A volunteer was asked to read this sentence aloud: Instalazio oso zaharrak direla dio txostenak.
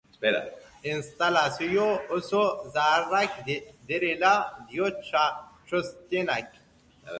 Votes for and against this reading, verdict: 0, 3, rejected